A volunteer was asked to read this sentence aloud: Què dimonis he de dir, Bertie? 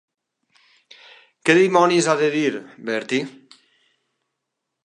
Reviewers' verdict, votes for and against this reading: rejected, 1, 3